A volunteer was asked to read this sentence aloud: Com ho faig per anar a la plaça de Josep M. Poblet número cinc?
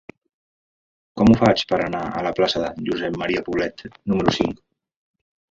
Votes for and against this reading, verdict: 1, 2, rejected